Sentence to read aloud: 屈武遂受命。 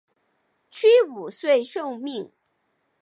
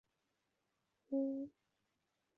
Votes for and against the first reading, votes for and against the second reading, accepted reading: 2, 0, 0, 3, first